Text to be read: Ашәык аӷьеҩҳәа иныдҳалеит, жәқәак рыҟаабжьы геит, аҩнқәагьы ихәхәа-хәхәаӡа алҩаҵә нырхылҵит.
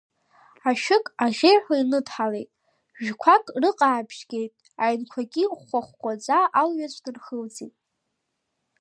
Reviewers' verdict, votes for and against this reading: accepted, 2, 1